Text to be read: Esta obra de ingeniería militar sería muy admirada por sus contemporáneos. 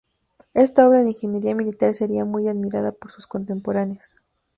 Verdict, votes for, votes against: accepted, 4, 0